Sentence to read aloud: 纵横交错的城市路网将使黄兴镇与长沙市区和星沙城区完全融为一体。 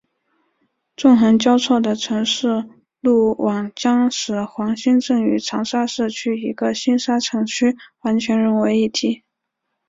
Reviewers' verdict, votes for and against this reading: accepted, 2, 1